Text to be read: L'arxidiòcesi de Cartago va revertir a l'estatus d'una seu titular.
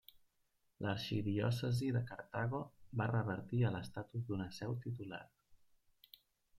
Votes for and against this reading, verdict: 2, 0, accepted